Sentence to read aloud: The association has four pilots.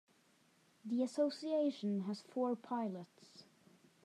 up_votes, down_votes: 1, 2